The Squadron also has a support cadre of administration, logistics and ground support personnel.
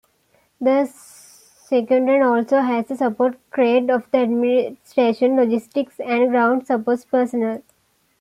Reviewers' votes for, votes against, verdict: 1, 2, rejected